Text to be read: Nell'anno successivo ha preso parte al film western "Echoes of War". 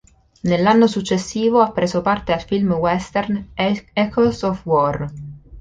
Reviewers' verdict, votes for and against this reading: rejected, 0, 2